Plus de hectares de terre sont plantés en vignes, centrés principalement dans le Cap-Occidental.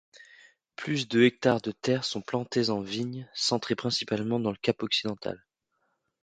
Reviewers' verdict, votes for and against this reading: accepted, 2, 0